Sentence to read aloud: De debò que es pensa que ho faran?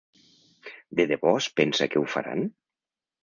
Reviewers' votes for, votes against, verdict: 0, 3, rejected